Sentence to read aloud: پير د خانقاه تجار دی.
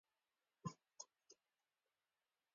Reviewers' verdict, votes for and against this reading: rejected, 0, 2